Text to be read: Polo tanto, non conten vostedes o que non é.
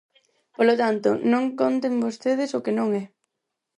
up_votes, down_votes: 4, 0